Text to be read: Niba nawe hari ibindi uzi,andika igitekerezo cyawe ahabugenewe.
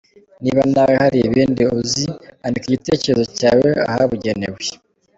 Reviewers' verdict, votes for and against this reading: accepted, 3, 2